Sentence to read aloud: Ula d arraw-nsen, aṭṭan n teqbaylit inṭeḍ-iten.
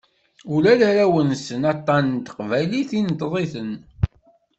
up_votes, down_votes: 2, 0